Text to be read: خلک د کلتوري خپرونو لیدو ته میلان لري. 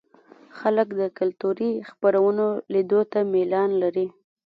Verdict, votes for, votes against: accepted, 2, 0